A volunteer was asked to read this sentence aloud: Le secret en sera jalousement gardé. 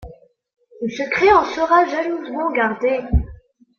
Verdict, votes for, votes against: rejected, 1, 2